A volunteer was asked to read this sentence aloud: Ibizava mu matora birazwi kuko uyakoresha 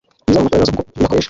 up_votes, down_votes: 1, 2